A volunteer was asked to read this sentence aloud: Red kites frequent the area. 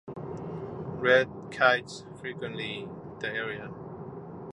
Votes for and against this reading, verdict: 0, 2, rejected